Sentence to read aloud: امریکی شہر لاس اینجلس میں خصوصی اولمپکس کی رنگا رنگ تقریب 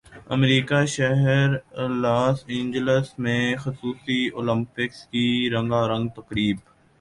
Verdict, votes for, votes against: rejected, 1, 2